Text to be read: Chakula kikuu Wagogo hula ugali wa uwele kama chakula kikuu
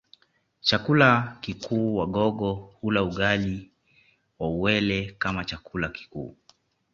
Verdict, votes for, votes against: accepted, 2, 0